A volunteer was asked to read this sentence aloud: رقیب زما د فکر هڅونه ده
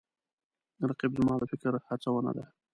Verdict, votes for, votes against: accepted, 2, 1